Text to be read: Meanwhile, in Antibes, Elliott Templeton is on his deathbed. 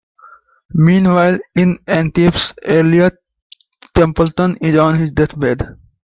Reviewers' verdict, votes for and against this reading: rejected, 1, 2